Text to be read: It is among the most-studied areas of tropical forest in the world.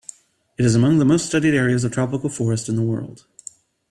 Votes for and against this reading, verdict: 2, 0, accepted